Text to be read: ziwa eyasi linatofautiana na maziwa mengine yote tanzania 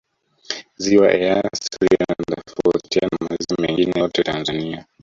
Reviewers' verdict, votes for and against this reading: rejected, 0, 2